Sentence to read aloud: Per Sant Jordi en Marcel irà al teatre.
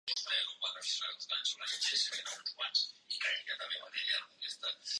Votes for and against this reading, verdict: 1, 2, rejected